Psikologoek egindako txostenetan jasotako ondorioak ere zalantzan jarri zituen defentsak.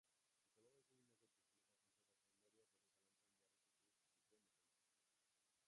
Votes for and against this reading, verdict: 0, 3, rejected